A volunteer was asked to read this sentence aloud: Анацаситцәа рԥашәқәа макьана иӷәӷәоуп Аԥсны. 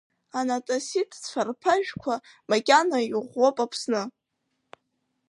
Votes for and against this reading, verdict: 2, 0, accepted